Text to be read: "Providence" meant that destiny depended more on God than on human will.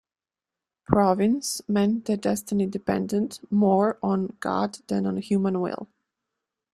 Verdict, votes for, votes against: rejected, 1, 2